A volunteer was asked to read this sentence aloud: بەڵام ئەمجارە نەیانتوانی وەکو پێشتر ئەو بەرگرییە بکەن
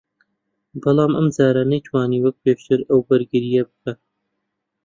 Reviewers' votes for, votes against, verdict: 1, 2, rejected